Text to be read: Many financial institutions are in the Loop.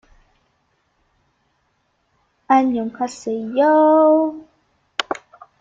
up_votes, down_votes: 0, 2